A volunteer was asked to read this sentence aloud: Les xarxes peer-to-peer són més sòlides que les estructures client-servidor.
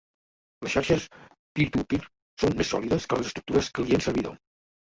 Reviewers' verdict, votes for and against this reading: rejected, 1, 2